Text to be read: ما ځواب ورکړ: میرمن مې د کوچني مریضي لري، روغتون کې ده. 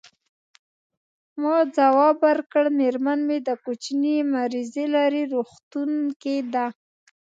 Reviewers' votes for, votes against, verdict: 2, 0, accepted